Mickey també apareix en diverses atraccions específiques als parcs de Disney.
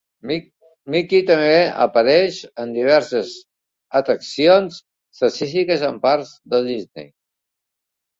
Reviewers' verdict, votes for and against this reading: rejected, 0, 2